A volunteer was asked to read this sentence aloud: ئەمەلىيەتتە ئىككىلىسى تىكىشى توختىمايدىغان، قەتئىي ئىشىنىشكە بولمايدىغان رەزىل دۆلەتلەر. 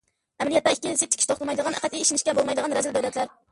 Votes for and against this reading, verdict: 0, 2, rejected